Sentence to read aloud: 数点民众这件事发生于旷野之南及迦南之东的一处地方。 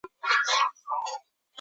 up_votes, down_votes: 0, 2